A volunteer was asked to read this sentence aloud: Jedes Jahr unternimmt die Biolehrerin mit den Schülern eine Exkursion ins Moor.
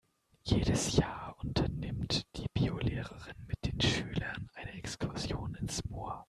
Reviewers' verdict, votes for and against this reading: rejected, 0, 2